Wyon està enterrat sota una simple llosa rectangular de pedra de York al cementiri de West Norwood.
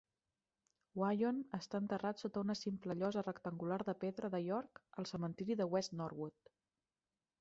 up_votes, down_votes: 1, 2